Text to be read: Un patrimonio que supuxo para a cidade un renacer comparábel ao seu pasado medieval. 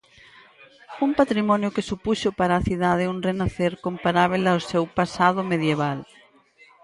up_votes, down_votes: 0, 4